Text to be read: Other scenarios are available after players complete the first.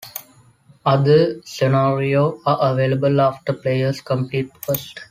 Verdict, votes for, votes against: rejected, 1, 4